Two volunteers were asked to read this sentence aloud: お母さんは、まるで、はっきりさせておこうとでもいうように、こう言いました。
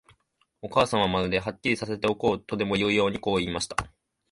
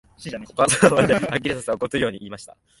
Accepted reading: first